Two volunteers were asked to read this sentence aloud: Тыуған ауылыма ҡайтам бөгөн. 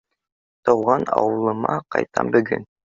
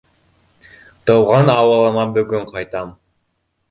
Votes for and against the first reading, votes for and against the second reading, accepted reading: 2, 0, 0, 2, first